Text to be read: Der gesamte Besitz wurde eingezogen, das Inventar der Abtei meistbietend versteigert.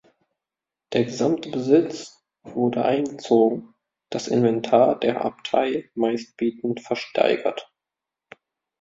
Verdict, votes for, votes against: accepted, 2, 0